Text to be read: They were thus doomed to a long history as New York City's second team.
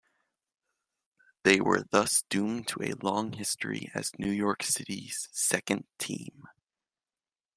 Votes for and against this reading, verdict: 2, 0, accepted